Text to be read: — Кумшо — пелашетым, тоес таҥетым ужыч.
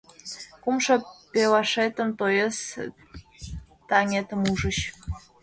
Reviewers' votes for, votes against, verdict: 0, 2, rejected